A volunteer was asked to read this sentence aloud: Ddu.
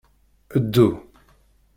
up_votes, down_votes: 2, 0